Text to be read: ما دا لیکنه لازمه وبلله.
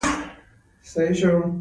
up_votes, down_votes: 0, 2